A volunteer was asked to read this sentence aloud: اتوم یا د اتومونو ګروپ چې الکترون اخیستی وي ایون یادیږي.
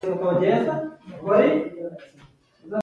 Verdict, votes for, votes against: accepted, 2, 0